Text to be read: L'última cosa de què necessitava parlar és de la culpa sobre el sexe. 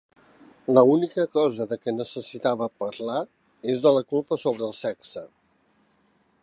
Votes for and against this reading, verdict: 0, 3, rejected